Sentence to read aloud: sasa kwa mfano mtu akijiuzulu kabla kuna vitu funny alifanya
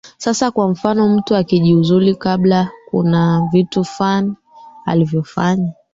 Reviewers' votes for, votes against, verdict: 1, 2, rejected